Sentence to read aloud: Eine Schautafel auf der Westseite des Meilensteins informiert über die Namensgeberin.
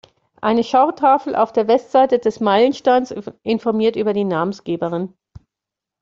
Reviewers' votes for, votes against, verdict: 2, 0, accepted